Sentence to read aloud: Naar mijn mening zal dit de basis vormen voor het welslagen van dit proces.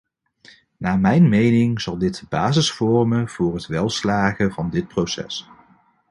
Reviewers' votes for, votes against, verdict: 0, 2, rejected